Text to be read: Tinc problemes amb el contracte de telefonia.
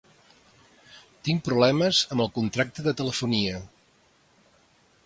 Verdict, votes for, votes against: accepted, 2, 0